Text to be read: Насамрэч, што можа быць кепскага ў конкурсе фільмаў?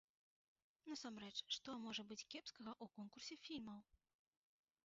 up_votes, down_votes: 1, 2